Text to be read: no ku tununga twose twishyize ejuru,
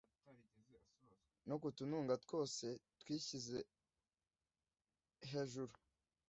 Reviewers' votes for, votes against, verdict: 1, 2, rejected